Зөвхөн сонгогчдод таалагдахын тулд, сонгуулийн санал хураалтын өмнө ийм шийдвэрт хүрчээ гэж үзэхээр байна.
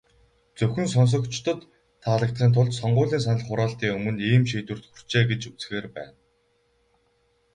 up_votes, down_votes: 2, 2